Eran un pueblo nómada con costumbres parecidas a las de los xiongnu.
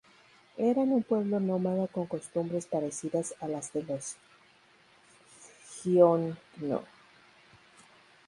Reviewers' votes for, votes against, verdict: 0, 4, rejected